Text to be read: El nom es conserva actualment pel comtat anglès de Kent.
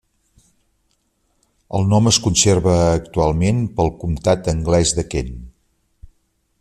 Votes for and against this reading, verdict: 4, 0, accepted